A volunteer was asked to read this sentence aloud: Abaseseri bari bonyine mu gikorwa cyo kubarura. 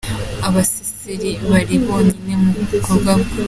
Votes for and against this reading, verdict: 0, 2, rejected